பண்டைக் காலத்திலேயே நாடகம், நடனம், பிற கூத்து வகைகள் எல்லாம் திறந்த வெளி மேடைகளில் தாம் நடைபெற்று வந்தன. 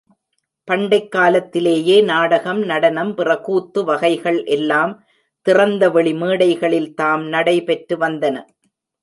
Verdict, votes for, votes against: accepted, 2, 0